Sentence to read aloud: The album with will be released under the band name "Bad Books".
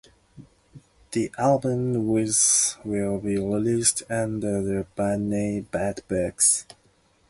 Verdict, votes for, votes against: accepted, 2, 0